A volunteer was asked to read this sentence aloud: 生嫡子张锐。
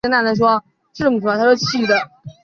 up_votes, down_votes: 0, 2